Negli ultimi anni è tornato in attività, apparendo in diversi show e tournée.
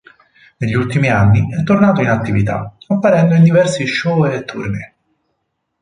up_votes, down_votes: 4, 2